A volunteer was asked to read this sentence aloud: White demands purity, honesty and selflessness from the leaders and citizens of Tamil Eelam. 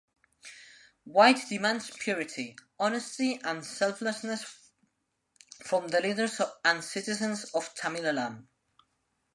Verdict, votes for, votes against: rejected, 2, 3